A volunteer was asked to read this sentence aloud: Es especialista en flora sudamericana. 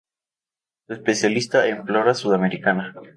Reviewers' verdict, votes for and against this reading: rejected, 0, 4